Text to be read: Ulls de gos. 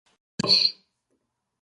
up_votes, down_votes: 0, 4